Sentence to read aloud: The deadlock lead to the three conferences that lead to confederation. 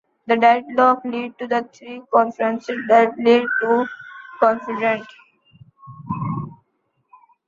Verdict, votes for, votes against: accepted, 2, 0